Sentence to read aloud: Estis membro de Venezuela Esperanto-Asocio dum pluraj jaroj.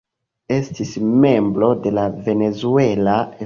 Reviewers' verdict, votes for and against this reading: rejected, 0, 2